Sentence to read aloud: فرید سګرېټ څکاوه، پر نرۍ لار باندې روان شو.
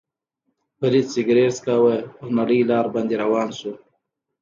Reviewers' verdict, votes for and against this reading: accepted, 2, 0